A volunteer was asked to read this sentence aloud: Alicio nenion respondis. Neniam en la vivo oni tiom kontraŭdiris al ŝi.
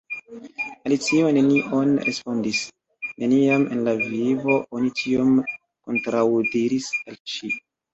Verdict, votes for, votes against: rejected, 1, 2